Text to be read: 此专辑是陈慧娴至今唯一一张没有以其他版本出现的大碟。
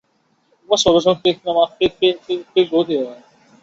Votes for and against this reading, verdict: 0, 2, rejected